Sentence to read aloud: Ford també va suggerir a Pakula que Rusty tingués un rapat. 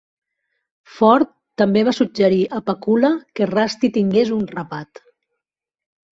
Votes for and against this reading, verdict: 2, 0, accepted